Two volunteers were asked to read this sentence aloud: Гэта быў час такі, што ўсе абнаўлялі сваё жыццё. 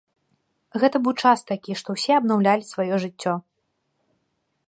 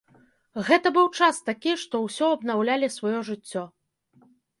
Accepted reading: first